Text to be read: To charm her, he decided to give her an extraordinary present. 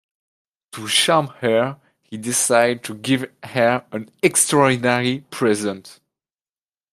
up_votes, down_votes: 1, 2